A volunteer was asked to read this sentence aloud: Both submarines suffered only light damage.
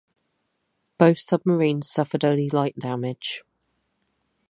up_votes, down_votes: 4, 0